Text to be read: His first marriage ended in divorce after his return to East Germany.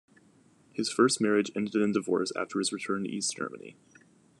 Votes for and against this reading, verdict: 2, 0, accepted